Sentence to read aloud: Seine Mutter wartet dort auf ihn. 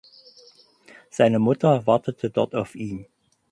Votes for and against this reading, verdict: 0, 4, rejected